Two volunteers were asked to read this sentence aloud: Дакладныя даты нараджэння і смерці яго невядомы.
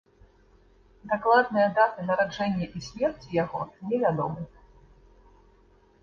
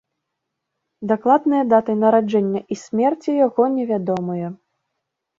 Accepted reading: first